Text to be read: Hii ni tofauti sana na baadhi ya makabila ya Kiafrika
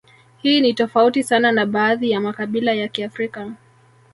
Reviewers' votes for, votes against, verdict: 1, 2, rejected